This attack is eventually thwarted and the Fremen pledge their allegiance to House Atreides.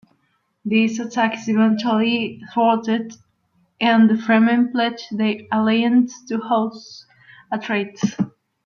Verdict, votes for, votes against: rejected, 0, 2